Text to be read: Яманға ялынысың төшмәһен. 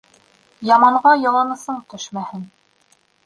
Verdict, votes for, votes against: rejected, 0, 2